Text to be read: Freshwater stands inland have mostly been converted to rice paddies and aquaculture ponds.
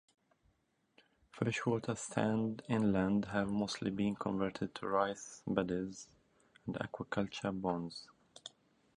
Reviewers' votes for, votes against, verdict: 1, 2, rejected